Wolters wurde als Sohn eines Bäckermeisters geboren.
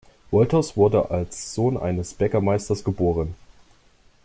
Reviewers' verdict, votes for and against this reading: accepted, 2, 0